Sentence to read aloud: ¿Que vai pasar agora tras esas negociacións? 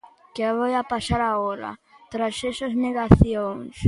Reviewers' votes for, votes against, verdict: 0, 2, rejected